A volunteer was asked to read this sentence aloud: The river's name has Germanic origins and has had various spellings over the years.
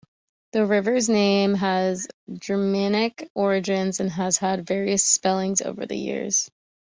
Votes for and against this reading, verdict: 2, 0, accepted